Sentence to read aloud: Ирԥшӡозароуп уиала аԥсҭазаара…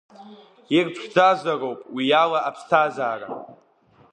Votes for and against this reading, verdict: 1, 2, rejected